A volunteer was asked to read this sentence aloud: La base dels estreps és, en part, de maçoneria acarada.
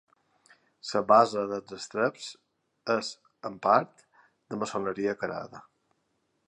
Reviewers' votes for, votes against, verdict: 0, 3, rejected